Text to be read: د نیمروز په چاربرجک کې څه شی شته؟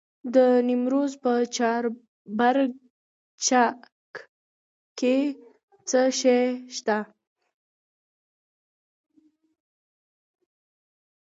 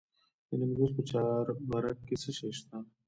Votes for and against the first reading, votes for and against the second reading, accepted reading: 2, 1, 1, 2, first